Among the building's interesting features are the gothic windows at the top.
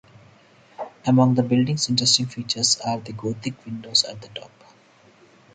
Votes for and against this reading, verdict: 0, 4, rejected